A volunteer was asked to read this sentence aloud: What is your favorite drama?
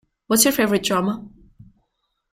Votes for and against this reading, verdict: 0, 2, rejected